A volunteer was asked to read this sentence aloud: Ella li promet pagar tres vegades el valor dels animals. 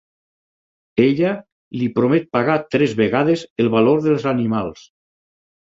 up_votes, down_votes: 6, 0